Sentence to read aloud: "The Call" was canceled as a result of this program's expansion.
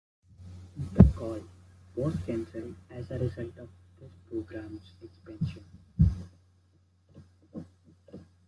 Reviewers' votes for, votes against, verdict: 0, 2, rejected